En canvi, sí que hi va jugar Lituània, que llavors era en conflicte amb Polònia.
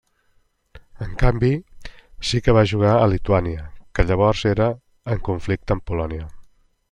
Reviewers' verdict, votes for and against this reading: rejected, 0, 2